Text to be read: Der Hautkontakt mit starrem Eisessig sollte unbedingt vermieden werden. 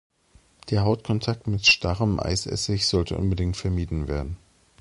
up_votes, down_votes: 2, 0